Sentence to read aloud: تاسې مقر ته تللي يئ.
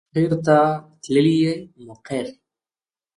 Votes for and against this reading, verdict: 1, 2, rejected